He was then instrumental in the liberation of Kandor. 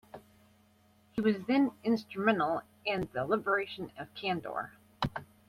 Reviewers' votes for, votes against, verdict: 1, 2, rejected